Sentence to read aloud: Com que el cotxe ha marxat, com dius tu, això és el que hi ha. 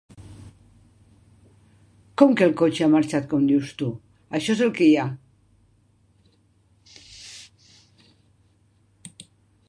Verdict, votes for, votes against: rejected, 3, 4